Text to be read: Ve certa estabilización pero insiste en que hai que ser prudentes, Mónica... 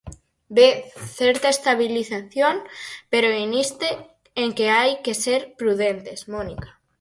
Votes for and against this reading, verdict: 0, 4, rejected